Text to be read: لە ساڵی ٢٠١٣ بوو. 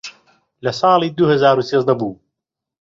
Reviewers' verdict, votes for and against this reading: rejected, 0, 2